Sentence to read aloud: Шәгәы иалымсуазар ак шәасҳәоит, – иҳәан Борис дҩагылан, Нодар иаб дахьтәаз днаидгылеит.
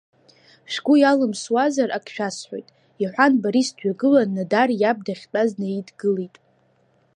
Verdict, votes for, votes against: accepted, 2, 1